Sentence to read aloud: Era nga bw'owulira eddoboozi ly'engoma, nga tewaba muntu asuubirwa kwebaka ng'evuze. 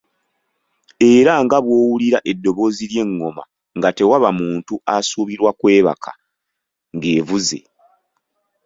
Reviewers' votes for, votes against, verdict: 2, 0, accepted